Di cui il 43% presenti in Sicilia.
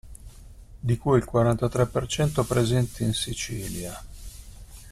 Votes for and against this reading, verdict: 0, 2, rejected